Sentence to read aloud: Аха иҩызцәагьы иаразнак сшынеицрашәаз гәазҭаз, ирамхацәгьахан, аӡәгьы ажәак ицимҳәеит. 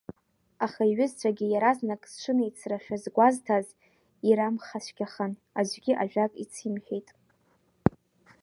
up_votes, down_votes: 1, 2